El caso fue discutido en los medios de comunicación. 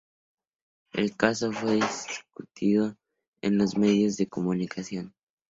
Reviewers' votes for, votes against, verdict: 2, 2, rejected